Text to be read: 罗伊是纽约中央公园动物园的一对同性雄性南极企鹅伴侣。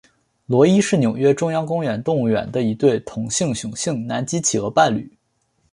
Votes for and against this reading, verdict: 2, 0, accepted